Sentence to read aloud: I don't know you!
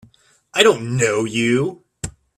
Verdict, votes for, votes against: accepted, 3, 0